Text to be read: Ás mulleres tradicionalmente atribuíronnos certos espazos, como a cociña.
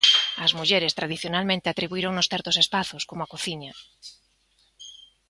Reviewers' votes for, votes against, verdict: 2, 0, accepted